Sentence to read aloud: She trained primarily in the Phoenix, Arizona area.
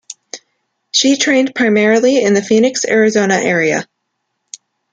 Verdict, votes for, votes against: accepted, 2, 0